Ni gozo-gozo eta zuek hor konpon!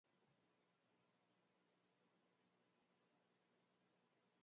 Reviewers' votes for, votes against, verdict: 1, 2, rejected